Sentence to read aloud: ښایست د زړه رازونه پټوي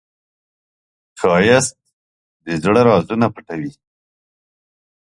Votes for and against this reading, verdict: 7, 0, accepted